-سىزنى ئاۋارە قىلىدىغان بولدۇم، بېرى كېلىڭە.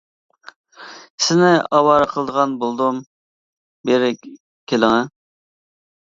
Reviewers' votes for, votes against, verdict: 0, 2, rejected